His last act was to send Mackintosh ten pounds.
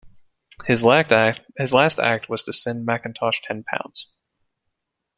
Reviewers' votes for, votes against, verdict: 1, 2, rejected